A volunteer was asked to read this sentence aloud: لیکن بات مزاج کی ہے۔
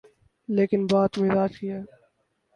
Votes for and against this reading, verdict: 0, 2, rejected